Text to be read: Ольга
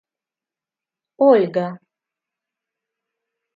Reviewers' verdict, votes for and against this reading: accepted, 2, 0